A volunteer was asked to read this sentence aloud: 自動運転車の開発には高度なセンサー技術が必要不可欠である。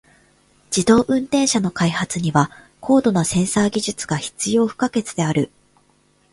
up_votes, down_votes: 1, 2